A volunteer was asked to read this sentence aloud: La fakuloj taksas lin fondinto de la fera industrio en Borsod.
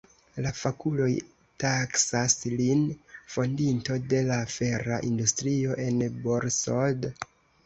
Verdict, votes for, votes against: accepted, 2, 1